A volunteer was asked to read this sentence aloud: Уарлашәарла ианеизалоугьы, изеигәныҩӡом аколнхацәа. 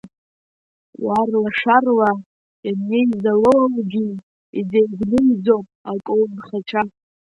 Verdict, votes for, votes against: rejected, 1, 2